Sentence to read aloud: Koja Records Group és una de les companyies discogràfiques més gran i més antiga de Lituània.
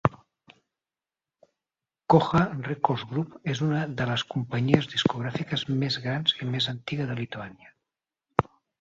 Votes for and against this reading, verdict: 2, 4, rejected